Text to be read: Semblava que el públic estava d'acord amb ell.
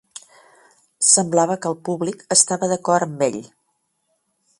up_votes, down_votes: 4, 1